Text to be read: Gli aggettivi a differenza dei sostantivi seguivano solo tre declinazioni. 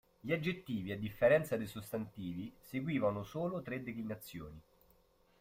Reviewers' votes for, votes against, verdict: 2, 0, accepted